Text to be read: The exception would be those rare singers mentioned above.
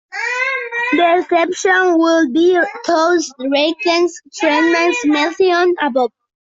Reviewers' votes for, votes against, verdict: 1, 2, rejected